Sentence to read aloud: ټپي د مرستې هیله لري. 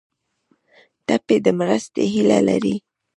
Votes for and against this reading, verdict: 1, 2, rejected